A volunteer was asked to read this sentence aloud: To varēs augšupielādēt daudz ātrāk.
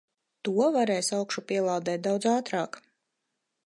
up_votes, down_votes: 4, 0